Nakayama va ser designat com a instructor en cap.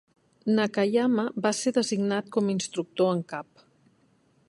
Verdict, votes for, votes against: accepted, 3, 0